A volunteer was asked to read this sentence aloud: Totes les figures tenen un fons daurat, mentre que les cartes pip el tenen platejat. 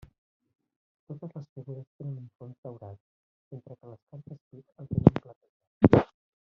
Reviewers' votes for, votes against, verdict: 0, 2, rejected